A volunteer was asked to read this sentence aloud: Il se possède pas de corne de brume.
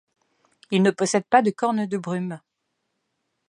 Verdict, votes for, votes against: rejected, 1, 2